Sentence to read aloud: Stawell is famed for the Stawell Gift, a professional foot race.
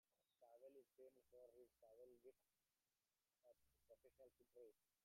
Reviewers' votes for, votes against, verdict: 0, 2, rejected